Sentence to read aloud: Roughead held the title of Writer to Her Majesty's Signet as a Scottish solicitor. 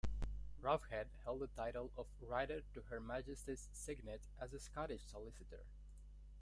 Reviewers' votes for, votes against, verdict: 0, 2, rejected